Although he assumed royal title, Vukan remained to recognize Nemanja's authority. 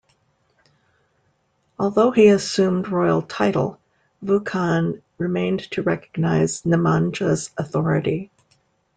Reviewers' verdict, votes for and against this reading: accepted, 2, 0